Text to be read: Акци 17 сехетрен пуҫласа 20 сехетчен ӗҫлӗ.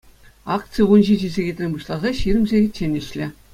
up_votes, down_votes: 0, 2